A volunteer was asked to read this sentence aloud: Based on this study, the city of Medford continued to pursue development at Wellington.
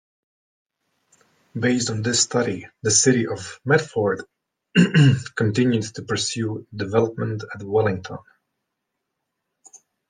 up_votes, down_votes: 1, 2